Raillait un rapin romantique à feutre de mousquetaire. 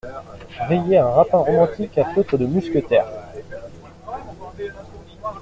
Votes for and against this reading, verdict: 1, 2, rejected